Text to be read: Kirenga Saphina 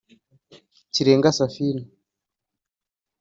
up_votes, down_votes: 2, 0